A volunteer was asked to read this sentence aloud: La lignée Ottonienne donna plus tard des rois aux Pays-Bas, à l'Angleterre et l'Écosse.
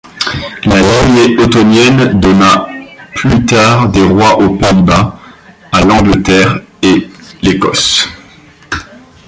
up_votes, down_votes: 1, 2